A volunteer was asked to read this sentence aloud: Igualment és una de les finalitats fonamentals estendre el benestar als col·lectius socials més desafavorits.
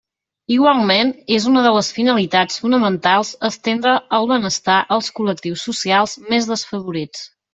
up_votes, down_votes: 2, 0